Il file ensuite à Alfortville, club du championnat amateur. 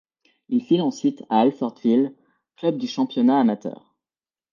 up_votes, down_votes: 1, 2